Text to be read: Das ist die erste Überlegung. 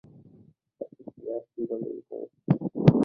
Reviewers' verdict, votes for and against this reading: rejected, 0, 2